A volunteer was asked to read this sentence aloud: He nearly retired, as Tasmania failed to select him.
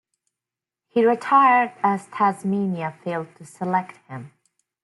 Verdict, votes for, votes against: rejected, 1, 2